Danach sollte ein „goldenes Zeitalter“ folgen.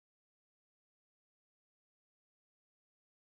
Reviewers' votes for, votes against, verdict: 0, 2, rejected